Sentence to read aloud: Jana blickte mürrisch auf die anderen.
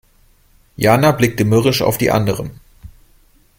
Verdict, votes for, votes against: accepted, 2, 0